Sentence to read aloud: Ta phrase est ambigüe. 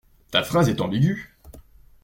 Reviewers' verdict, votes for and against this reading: accepted, 2, 0